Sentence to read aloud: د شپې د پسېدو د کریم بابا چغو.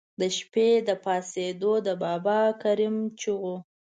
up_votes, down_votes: 1, 2